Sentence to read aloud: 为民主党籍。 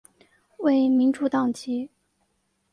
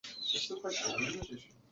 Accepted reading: first